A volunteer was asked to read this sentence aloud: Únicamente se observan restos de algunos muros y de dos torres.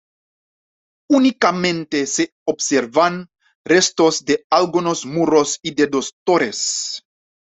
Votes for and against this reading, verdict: 2, 0, accepted